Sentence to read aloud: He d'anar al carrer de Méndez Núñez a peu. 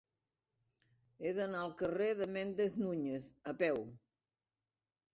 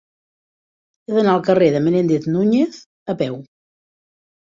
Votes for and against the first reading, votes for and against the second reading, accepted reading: 2, 0, 0, 2, first